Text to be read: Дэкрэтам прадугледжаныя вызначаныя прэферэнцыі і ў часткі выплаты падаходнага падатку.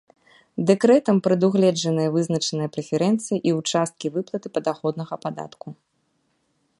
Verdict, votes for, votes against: accepted, 2, 0